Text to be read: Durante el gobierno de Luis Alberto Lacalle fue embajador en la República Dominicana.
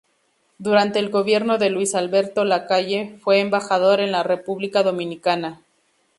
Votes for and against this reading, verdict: 2, 0, accepted